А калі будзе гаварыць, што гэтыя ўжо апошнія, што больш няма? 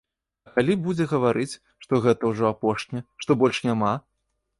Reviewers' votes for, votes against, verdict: 1, 3, rejected